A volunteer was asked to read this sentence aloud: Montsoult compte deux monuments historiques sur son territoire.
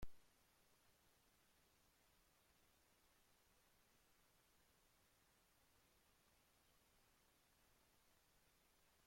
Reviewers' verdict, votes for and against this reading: rejected, 0, 2